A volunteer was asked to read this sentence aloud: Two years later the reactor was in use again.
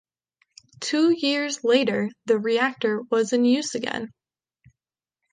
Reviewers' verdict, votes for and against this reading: accepted, 2, 0